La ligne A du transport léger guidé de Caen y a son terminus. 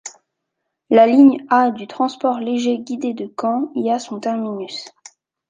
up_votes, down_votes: 2, 0